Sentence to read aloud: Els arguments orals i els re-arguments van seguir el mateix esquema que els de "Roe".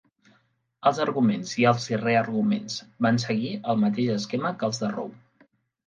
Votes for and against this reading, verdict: 1, 2, rejected